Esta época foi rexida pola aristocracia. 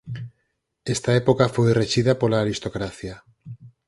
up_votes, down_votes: 4, 0